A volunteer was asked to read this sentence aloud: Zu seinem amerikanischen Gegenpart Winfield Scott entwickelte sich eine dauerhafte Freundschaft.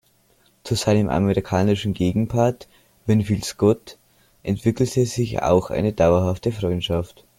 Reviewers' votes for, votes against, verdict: 1, 2, rejected